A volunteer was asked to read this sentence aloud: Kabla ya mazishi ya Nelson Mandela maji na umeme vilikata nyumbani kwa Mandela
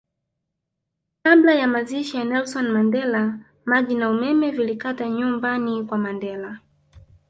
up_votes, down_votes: 1, 2